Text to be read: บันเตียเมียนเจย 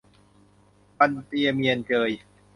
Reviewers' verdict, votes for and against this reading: accepted, 2, 0